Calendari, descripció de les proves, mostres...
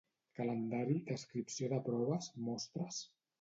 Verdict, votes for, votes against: rejected, 1, 2